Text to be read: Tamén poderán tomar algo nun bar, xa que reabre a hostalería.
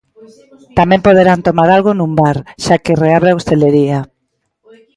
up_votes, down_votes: 0, 2